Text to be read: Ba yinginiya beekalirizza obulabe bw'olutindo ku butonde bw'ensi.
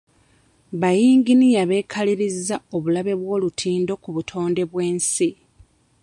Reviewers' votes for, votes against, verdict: 2, 0, accepted